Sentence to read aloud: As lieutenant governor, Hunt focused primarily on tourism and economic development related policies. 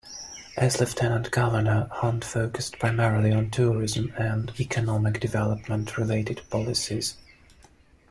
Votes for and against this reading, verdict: 1, 2, rejected